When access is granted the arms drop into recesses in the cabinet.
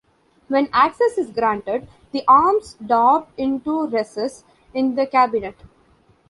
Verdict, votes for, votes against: rejected, 1, 2